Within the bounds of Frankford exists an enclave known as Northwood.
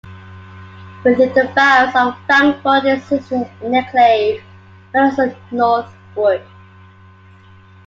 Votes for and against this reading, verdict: 0, 2, rejected